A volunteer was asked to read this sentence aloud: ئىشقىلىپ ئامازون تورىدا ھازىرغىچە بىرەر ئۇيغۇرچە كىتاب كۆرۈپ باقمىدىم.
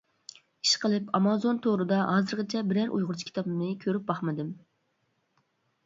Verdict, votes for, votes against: rejected, 0, 2